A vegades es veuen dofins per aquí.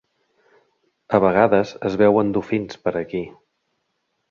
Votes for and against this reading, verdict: 4, 0, accepted